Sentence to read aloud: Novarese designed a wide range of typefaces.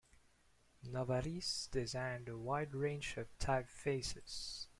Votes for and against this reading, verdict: 2, 0, accepted